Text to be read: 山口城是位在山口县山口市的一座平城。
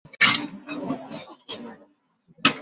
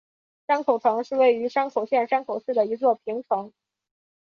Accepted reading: second